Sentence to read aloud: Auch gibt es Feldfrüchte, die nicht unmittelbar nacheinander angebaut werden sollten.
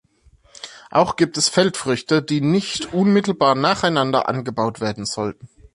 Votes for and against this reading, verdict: 1, 2, rejected